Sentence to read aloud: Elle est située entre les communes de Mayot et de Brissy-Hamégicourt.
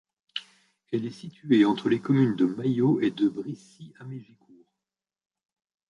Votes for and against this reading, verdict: 1, 2, rejected